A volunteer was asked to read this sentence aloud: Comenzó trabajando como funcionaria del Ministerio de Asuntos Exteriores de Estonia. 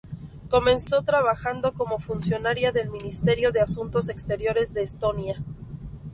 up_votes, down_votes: 2, 0